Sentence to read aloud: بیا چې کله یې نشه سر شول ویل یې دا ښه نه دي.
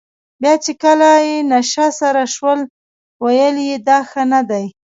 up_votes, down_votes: 0, 2